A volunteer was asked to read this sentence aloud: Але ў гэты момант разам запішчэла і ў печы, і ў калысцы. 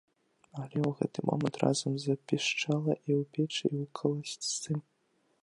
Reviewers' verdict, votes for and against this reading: accepted, 2, 1